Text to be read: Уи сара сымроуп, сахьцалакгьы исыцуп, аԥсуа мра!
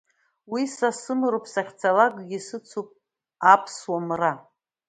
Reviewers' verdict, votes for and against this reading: rejected, 1, 2